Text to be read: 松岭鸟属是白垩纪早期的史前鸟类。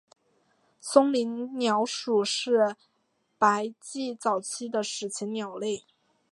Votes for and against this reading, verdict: 0, 2, rejected